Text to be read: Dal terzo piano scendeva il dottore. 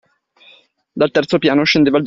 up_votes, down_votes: 0, 2